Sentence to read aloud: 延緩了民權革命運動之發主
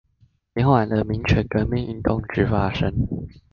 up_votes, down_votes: 1, 2